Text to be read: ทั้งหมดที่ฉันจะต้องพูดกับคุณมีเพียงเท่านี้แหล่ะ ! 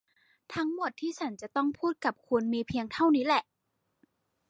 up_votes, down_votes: 2, 0